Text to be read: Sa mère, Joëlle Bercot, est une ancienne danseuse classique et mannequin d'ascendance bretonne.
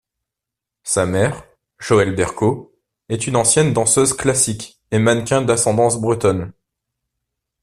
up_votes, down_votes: 3, 0